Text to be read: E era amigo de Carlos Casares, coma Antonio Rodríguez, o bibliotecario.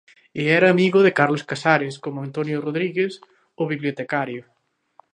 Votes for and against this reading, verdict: 2, 0, accepted